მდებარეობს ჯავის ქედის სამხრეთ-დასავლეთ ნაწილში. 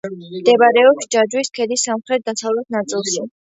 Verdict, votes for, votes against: rejected, 1, 2